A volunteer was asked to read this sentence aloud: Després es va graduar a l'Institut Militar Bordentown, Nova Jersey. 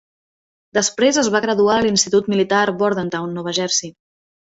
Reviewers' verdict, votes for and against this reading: accepted, 2, 0